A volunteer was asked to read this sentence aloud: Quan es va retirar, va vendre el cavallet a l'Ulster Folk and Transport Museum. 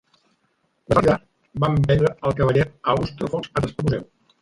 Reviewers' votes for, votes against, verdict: 0, 2, rejected